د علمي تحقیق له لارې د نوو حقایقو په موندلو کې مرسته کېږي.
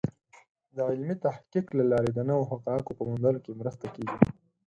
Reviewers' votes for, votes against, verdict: 4, 0, accepted